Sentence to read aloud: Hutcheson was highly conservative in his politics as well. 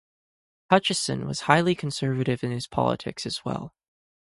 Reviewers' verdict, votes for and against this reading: accepted, 4, 0